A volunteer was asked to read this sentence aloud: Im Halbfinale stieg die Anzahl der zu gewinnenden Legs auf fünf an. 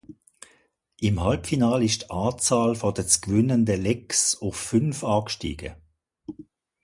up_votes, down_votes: 0, 2